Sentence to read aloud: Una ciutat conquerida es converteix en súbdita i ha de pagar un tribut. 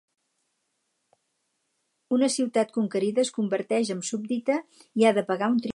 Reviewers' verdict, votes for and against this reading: rejected, 0, 4